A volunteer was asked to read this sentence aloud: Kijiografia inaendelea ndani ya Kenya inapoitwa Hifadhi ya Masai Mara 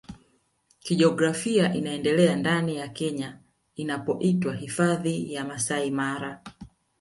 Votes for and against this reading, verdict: 1, 2, rejected